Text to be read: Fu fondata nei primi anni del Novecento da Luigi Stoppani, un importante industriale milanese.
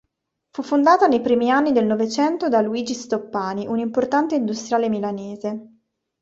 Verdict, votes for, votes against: accepted, 3, 0